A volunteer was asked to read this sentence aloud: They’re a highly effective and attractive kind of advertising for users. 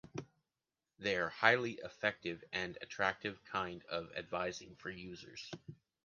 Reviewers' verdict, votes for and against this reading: accepted, 2, 0